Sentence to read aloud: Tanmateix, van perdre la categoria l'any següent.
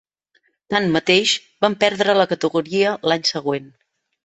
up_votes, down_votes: 5, 0